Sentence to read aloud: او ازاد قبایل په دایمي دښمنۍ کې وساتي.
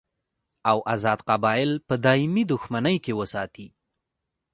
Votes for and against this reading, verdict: 2, 0, accepted